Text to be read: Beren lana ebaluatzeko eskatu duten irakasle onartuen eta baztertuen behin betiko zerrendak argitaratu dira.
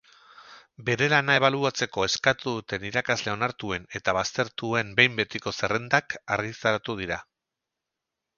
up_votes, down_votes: 2, 2